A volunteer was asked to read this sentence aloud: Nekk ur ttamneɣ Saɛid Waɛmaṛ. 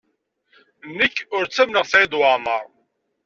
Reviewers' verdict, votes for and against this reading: accepted, 2, 0